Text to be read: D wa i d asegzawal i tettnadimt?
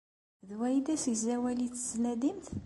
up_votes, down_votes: 2, 0